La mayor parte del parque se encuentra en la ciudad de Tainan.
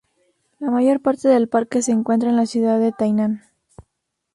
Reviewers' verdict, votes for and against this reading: rejected, 2, 2